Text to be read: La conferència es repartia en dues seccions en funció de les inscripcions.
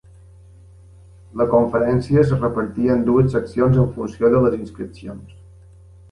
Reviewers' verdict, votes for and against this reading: accepted, 2, 0